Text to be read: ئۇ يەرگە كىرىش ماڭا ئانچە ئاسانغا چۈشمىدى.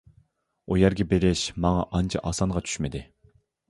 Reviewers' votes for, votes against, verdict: 0, 2, rejected